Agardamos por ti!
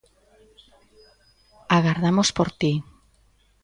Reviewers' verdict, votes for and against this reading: accepted, 2, 0